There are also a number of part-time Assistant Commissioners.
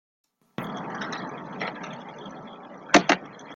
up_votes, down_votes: 0, 2